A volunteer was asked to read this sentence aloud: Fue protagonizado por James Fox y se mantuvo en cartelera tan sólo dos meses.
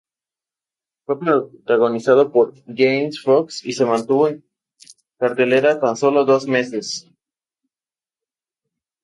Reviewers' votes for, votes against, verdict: 2, 2, rejected